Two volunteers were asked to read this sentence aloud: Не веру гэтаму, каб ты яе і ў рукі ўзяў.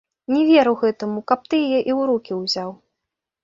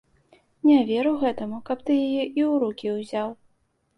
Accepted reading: second